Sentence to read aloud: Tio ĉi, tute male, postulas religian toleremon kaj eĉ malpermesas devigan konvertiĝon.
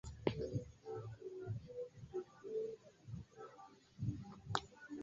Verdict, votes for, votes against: rejected, 0, 2